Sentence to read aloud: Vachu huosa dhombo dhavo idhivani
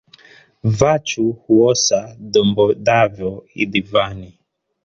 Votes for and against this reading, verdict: 2, 0, accepted